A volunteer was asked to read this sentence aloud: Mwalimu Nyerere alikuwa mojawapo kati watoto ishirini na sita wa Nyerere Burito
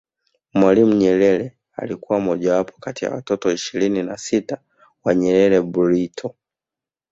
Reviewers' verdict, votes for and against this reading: rejected, 0, 2